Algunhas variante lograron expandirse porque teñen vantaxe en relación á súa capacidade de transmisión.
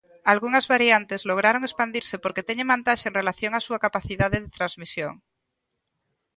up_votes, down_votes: 1, 2